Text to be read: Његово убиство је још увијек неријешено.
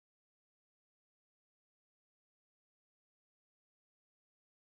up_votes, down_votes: 0, 2